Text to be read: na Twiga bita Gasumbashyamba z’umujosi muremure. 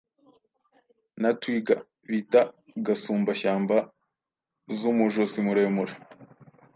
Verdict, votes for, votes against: accepted, 2, 0